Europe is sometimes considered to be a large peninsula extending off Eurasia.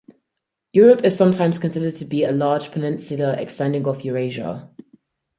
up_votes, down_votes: 4, 0